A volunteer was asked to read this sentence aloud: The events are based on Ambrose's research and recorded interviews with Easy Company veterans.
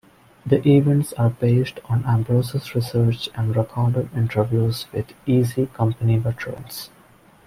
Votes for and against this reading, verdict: 2, 1, accepted